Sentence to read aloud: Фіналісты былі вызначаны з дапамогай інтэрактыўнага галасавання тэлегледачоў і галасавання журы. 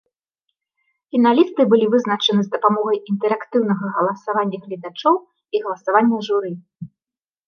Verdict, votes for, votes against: rejected, 0, 2